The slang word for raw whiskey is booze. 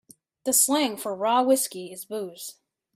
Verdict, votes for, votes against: rejected, 1, 2